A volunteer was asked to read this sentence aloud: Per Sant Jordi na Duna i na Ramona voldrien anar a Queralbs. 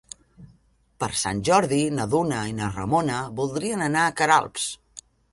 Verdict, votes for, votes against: accepted, 3, 0